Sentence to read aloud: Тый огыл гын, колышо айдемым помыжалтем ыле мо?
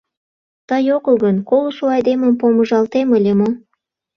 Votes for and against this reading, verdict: 2, 0, accepted